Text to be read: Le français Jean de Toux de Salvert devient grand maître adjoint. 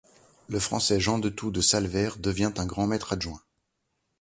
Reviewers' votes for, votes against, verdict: 1, 2, rejected